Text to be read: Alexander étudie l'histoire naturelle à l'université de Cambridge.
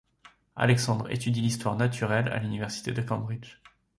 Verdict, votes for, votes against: rejected, 0, 2